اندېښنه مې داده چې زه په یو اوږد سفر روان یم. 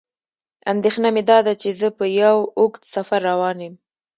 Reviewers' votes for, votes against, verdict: 2, 0, accepted